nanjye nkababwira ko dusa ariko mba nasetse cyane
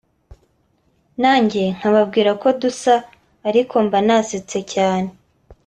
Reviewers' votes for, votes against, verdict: 2, 0, accepted